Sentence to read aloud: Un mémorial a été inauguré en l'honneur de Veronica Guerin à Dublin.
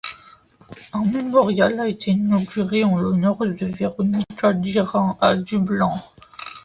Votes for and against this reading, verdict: 0, 2, rejected